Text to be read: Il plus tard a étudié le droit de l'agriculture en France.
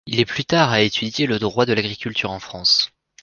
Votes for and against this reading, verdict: 1, 2, rejected